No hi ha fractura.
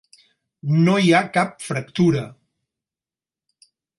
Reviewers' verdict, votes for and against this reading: rejected, 2, 4